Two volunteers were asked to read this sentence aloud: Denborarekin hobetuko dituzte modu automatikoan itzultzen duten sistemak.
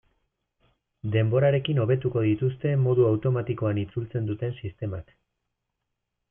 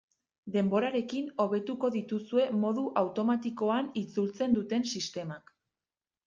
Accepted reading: first